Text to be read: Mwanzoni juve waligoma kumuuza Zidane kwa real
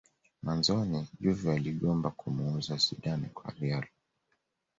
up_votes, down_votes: 2, 0